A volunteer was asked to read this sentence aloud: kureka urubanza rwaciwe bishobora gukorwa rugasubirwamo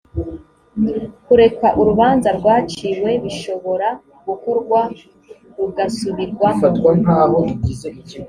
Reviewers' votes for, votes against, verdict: 3, 0, accepted